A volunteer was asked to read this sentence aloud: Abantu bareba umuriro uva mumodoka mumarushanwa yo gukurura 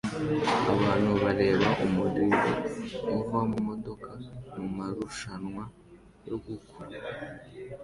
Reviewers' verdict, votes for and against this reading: rejected, 0, 2